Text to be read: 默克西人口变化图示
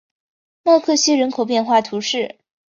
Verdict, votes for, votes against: rejected, 0, 2